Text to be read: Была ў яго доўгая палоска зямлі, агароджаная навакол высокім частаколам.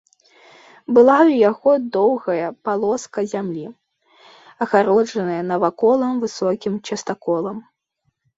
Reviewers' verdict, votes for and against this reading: rejected, 0, 2